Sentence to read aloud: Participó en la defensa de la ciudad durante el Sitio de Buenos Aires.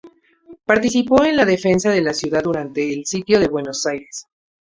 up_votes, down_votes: 0, 2